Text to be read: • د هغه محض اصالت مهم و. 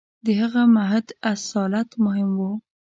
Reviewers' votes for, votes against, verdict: 0, 2, rejected